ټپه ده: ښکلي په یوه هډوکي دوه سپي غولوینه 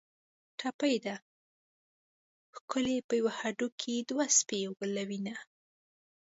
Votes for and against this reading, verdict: 1, 2, rejected